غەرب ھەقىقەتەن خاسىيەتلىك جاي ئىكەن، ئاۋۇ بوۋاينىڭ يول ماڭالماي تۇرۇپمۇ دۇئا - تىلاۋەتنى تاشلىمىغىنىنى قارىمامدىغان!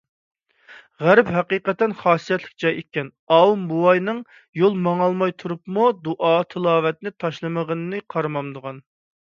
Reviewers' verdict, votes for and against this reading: accepted, 2, 0